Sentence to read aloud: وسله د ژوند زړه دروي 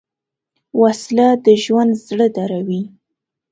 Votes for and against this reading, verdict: 2, 0, accepted